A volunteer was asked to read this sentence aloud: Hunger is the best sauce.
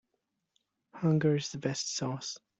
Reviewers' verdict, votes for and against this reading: rejected, 1, 2